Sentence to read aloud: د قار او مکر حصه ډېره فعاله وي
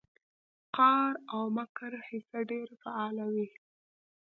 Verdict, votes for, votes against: accepted, 2, 0